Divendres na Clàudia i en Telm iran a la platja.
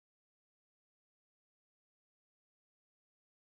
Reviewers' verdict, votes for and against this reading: rejected, 0, 3